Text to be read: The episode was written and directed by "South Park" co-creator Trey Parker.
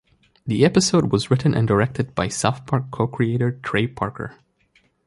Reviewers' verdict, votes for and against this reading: rejected, 0, 2